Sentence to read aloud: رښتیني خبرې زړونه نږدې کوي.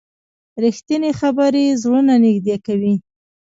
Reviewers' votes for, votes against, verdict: 1, 2, rejected